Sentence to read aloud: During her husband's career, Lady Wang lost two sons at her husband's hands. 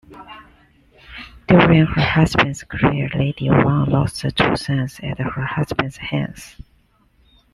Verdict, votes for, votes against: accepted, 2, 1